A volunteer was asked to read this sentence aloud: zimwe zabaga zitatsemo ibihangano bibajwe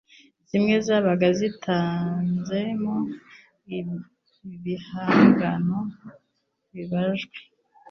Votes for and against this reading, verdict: 1, 2, rejected